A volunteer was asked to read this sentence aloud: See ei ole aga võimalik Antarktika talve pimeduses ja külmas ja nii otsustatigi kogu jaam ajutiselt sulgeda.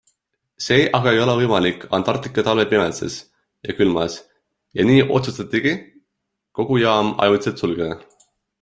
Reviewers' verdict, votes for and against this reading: accepted, 2, 1